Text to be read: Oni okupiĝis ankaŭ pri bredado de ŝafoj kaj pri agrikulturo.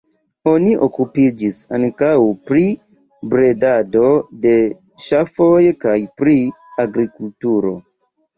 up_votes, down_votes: 0, 2